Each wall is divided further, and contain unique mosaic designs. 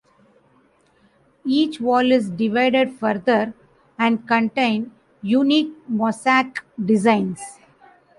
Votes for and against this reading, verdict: 2, 0, accepted